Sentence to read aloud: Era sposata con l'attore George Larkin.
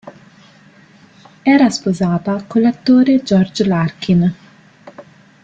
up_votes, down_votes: 2, 0